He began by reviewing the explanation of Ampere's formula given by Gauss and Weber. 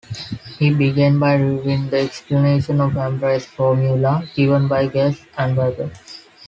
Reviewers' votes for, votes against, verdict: 0, 2, rejected